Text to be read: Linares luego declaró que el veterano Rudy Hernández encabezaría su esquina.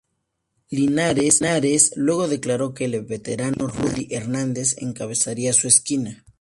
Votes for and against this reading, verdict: 0, 4, rejected